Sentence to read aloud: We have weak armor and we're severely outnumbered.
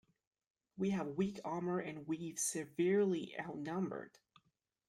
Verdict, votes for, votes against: rejected, 0, 2